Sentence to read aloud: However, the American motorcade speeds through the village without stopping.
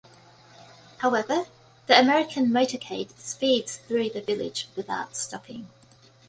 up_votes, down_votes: 2, 0